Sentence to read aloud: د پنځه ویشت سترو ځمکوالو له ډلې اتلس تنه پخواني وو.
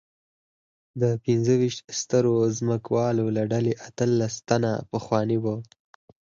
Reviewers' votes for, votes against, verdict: 4, 0, accepted